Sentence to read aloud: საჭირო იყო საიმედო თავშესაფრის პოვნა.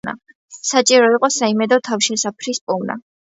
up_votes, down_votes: 2, 0